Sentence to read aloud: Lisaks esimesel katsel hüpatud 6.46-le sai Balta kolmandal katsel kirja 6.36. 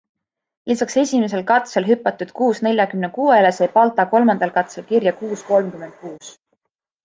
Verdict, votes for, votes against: rejected, 0, 2